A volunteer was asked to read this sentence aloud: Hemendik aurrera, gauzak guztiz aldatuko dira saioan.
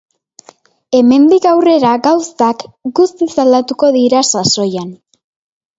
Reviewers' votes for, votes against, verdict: 1, 2, rejected